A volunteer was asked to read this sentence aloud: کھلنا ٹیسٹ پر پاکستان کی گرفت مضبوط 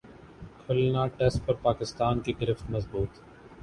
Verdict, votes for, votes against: accepted, 2, 0